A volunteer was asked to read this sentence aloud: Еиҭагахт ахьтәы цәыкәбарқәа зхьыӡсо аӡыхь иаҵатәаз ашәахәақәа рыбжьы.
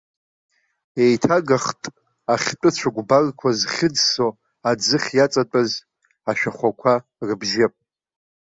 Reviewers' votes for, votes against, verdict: 2, 0, accepted